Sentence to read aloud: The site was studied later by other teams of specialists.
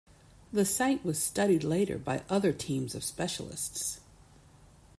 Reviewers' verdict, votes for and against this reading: accepted, 2, 0